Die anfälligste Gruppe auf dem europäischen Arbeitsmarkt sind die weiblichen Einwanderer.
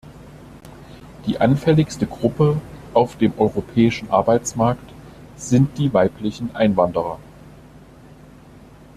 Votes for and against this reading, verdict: 2, 0, accepted